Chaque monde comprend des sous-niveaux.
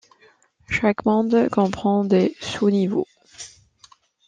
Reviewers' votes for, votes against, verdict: 3, 0, accepted